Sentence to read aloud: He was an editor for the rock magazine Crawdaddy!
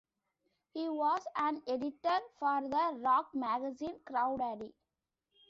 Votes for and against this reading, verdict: 2, 0, accepted